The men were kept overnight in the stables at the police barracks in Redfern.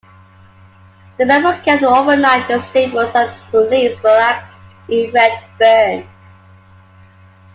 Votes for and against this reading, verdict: 2, 0, accepted